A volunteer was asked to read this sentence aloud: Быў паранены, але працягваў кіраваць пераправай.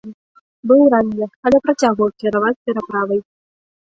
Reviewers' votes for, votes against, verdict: 1, 2, rejected